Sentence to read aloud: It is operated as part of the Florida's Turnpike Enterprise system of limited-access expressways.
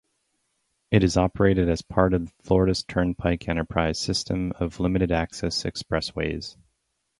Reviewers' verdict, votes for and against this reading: accepted, 12, 0